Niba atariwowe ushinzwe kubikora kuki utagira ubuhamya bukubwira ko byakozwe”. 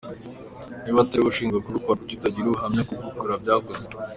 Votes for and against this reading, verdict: 2, 1, accepted